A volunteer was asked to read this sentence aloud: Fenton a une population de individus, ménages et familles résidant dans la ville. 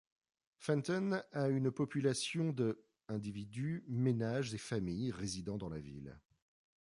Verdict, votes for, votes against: accepted, 2, 0